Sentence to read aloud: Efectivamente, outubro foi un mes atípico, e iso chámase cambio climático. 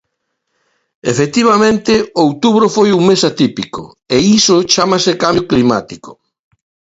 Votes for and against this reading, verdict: 1, 2, rejected